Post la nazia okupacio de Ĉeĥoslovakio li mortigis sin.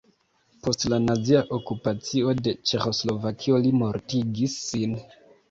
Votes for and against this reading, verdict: 2, 0, accepted